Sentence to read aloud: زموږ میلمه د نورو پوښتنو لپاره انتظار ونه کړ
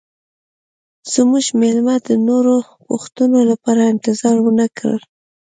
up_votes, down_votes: 2, 0